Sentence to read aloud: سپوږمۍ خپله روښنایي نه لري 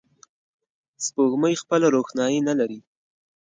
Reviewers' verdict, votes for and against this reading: accepted, 2, 0